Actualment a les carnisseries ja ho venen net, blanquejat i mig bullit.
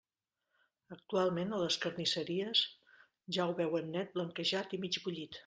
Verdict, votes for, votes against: rejected, 0, 2